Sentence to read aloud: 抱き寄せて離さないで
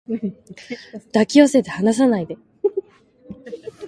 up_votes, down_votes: 2, 1